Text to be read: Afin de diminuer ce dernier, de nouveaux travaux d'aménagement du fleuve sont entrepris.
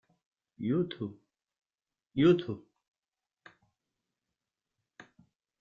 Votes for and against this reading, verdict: 1, 2, rejected